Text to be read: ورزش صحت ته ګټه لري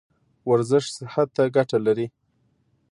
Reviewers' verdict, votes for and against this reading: accepted, 2, 0